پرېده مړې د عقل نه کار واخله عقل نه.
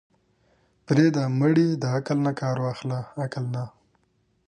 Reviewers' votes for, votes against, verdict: 2, 1, accepted